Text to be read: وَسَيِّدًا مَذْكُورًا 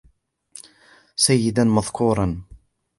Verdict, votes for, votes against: accepted, 3, 0